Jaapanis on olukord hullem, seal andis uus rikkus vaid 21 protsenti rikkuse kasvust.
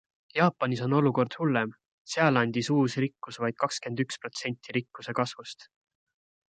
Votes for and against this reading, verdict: 0, 2, rejected